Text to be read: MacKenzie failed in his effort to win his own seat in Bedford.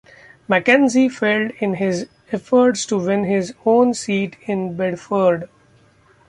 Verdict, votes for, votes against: rejected, 1, 2